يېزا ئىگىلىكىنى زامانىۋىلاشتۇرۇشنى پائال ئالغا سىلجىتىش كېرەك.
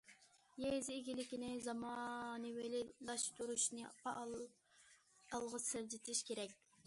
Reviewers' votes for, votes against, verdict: 2, 1, accepted